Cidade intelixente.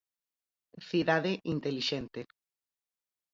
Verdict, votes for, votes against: accepted, 4, 2